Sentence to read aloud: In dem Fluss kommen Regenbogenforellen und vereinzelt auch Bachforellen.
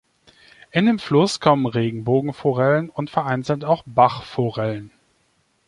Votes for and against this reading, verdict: 2, 0, accepted